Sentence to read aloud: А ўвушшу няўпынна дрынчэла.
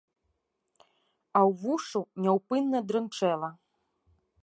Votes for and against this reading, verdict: 2, 0, accepted